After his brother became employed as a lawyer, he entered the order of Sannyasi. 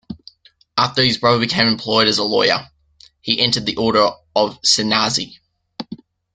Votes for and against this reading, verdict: 2, 0, accepted